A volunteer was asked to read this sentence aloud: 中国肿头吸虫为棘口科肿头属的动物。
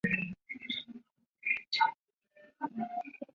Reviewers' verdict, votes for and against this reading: accepted, 3, 0